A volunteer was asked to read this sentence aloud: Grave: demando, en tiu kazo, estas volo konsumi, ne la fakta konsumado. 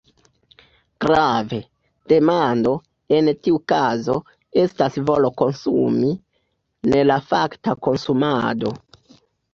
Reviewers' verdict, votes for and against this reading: accepted, 2, 1